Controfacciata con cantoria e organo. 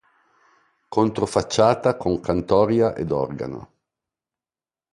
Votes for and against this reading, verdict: 1, 2, rejected